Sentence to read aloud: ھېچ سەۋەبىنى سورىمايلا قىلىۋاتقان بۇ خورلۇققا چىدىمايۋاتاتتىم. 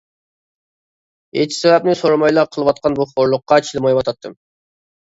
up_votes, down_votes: 0, 2